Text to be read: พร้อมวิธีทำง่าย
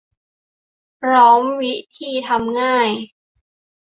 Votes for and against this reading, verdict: 2, 0, accepted